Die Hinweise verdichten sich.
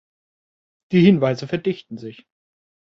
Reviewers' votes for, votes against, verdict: 2, 0, accepted